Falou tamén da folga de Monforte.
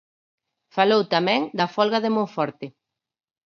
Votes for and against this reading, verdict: 4, 0, accepted